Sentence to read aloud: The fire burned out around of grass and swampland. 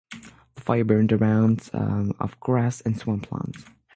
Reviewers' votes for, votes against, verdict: 0, 6, rejected